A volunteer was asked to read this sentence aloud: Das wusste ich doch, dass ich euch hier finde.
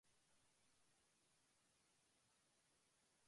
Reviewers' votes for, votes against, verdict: 0, 2, rejected